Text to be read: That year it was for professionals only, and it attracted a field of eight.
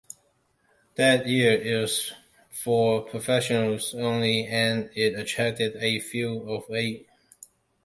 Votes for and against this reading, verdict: 1, 2, rejected